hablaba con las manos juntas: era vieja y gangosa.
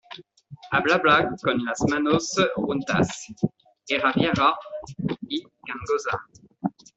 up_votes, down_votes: 0, 2